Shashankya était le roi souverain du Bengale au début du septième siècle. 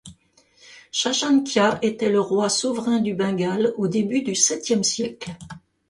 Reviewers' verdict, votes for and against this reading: accepted, 2, 0